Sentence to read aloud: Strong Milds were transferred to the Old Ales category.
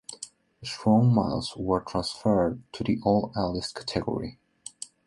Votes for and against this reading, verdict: 2, 1, accepted